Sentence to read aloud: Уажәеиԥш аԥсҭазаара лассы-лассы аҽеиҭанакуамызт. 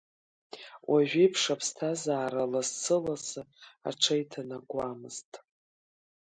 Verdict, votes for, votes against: accepted, 2, 1